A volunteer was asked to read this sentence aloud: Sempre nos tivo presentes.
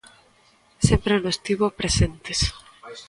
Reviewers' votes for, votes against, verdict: 2, 0, accepted